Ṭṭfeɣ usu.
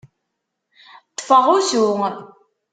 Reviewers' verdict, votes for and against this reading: accepted, 2, 0